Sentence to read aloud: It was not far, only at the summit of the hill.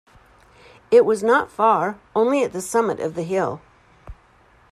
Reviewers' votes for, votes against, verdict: 2, 0, accepted